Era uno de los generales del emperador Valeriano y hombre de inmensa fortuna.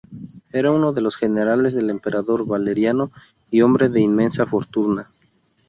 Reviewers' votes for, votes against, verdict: 0, 2, rejected